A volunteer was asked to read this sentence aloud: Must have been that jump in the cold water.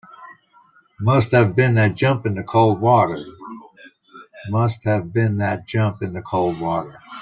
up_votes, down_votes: 0, 2